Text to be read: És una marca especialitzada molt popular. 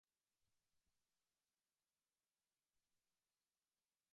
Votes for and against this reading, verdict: 0, 2, rejected